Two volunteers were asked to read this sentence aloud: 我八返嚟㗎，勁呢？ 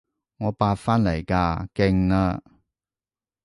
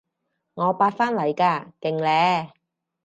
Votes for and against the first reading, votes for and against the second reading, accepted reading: 0, 2, 4, 0, second